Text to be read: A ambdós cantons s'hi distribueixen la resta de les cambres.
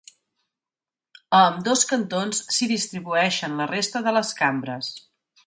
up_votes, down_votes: 2, 0